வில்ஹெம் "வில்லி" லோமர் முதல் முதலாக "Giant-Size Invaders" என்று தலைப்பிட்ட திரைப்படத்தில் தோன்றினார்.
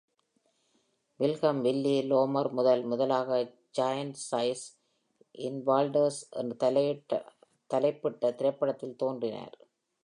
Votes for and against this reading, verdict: 0, 2, rejected